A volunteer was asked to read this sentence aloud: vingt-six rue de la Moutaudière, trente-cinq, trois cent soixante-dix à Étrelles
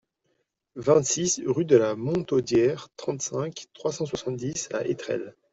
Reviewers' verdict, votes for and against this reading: rejected, 1, 2